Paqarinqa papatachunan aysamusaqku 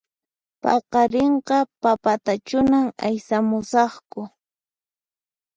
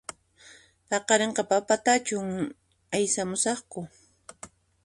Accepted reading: first